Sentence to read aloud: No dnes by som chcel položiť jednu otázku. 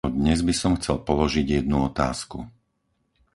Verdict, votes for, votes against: rejected, 0, 4